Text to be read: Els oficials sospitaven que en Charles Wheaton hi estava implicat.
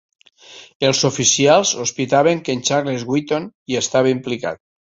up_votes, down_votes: 1, 2